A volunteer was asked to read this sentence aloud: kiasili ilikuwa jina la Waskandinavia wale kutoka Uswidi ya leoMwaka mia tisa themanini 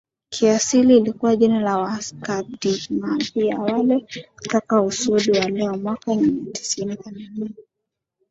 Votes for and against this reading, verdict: 2, 3, rejected